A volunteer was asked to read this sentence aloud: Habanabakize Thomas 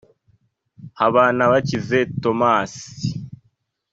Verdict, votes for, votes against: accepted, 2, 0